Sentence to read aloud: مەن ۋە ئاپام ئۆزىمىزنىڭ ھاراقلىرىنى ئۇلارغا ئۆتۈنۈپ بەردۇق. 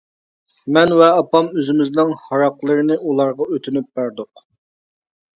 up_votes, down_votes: 3, 0